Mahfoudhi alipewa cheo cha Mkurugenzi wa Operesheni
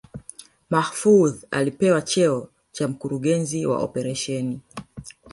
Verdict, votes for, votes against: accepted, 2, 1